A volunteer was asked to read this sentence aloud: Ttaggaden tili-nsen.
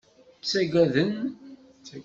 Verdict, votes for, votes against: rejected, 1, 2